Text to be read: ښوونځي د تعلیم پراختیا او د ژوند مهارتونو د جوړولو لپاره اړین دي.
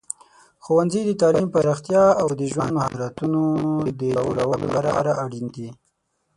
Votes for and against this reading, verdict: 3, 6, rejected